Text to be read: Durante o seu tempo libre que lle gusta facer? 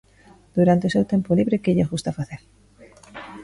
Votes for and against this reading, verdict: 1, 2, rejected